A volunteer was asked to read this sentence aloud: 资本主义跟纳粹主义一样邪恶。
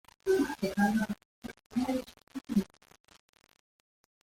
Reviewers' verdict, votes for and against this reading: rejected, 0, 3